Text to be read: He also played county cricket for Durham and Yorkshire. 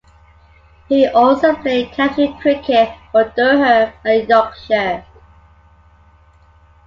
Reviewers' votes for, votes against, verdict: 2, 0, accepted